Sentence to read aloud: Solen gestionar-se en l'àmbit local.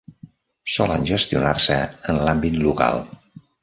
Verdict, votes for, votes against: accepted, 3, 0